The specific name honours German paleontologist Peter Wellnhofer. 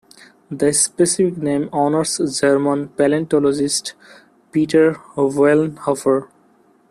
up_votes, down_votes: 0, 2